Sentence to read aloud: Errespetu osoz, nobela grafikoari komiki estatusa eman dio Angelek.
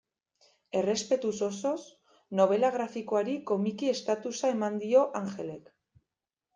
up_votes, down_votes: 0, 2